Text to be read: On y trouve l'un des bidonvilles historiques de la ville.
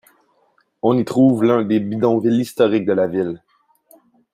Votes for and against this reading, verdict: 2, 0, accepted